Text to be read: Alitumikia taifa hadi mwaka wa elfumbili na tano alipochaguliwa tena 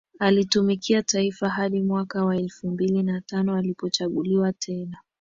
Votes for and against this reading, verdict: 2, 0, accepted